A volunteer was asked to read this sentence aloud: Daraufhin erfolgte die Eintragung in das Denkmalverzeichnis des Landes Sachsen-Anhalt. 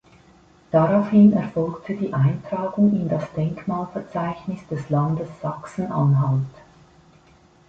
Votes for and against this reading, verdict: 2, 0, accepted